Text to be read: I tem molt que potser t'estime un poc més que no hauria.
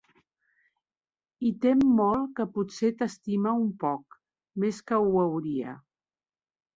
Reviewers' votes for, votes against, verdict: 1, 2, rejected